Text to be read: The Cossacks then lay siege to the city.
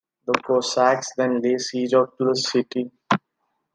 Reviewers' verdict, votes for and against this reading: rejected, 0, 2